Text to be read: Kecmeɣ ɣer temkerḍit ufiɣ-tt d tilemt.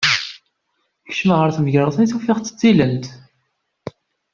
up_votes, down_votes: 2, 1